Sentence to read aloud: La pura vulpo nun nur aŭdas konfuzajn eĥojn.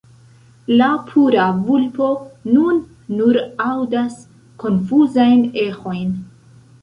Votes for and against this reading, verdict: 2, 0, accepted